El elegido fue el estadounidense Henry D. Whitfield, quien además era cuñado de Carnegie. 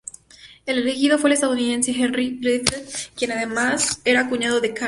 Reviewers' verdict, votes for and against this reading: accepted, 2, 0